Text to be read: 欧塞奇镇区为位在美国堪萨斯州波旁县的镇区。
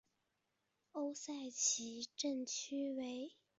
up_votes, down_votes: 0, 2